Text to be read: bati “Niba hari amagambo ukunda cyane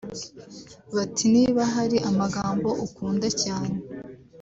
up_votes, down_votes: 0, 2